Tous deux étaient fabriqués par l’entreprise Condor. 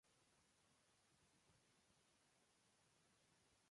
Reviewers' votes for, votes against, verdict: 0, 2, rejected